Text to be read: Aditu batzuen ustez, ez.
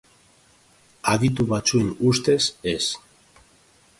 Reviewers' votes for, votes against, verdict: 2, 0, accepted